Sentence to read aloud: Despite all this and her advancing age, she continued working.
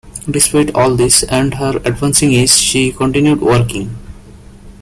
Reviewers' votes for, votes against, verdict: 2, 1, accepted